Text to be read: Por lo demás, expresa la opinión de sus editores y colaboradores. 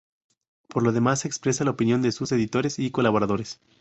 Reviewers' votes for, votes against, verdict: 2, 0, accepted